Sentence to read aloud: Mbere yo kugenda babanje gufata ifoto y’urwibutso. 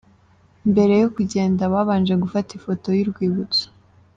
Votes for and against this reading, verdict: 2, 1, accepted